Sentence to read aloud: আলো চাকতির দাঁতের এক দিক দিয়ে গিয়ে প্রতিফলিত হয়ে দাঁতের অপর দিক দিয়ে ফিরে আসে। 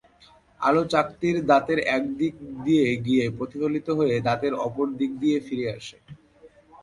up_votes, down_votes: 2, 0